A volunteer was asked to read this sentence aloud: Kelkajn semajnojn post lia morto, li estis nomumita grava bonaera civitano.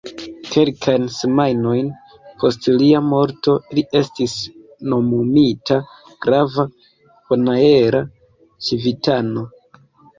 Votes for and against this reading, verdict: 3, 2, accepted